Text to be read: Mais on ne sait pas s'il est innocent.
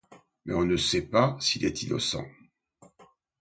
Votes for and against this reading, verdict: 2, 0, accepted